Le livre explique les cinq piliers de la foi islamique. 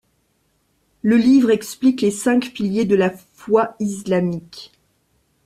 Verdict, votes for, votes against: rejected, 1, 2